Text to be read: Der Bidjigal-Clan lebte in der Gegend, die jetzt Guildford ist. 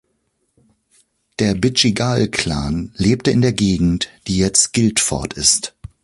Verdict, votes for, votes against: accepted, 2, 0